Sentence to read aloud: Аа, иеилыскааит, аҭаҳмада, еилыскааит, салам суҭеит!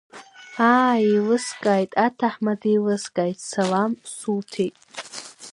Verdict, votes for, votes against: accepted, 2, 0